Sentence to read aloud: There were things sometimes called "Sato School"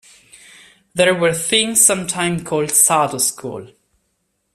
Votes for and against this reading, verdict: 1, 2, rejected